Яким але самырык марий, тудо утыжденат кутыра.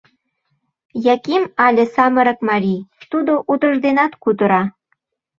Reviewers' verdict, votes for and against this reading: accepted, 2, 0